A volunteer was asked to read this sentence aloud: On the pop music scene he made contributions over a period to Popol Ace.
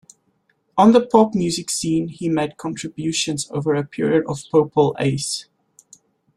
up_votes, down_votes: 1, 2